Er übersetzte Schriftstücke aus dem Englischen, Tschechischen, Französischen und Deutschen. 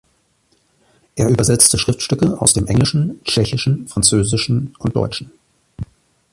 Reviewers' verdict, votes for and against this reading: accepted, 2, 0